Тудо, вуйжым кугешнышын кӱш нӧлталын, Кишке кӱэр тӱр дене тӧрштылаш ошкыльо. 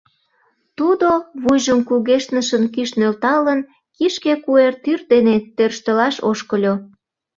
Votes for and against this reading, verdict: 0, 2, rejected